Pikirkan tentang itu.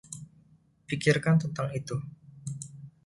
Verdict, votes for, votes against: accepted, 2, 0